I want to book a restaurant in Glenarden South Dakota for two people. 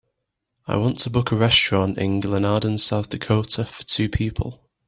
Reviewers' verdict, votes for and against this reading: accepted, 2, 0